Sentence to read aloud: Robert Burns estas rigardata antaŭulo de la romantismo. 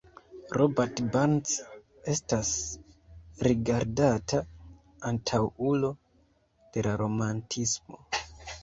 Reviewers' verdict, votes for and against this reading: accepted, 2, 1